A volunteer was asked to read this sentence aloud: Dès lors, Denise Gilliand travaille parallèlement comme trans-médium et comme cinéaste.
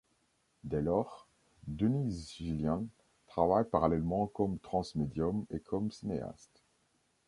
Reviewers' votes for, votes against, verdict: 2, 0, accepted